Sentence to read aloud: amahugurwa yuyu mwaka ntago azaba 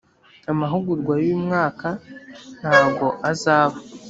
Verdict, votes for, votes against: accepted, 2, 0